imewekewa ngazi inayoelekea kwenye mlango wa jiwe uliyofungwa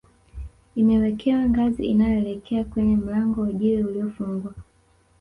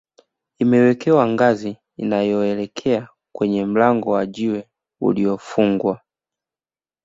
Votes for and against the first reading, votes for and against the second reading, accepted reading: 1, 2, 2, 0, second